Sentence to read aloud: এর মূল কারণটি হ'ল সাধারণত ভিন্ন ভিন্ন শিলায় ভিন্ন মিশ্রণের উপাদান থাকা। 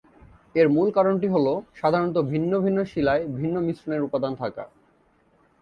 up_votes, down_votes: 3, 0